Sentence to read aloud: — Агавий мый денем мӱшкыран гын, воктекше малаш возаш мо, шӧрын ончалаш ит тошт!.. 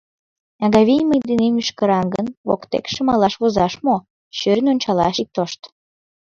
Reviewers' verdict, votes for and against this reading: accepted, 2, 1